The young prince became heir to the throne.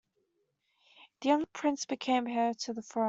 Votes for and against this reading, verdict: 0, 2, rejected